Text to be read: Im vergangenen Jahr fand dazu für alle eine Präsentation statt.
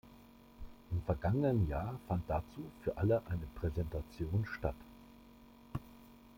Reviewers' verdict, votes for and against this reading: accepted, 2, 0